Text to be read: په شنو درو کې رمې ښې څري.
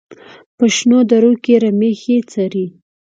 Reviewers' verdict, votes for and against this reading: accepted, 2, 0